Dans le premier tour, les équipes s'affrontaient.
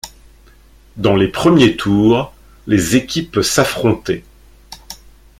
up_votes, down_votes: 0, 2